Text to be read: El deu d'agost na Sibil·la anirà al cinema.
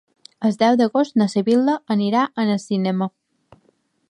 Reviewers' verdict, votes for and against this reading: rejected, 1, 2